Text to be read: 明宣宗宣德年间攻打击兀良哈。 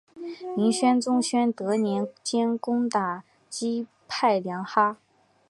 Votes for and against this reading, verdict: 5, 2, accepted